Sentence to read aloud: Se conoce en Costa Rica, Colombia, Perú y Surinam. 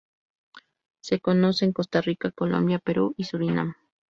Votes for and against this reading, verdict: 0, 2, rejected